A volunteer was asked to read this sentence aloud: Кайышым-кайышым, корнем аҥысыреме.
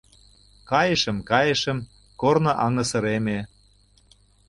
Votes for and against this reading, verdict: 0, 2, rejected